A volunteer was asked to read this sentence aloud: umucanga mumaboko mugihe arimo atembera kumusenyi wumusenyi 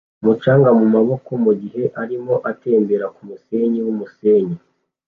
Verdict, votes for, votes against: accepted, 2, 0